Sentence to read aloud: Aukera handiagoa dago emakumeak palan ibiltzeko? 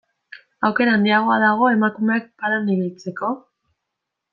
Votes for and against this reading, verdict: 2, 0, accepted